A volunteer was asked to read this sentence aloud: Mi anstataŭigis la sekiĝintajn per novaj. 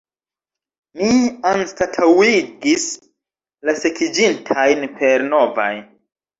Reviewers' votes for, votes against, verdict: 2, 1, accepted